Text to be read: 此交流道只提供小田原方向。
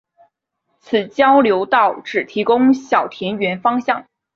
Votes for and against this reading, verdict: 2, 0, accepted